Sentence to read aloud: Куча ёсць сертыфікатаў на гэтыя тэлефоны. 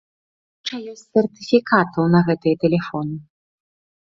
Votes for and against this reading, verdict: 1, 2, rejected